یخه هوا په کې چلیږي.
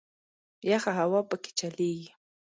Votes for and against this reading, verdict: 2, 0, accepted